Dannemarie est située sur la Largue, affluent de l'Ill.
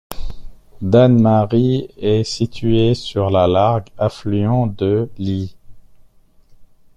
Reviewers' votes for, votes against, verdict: 2, 0, accepted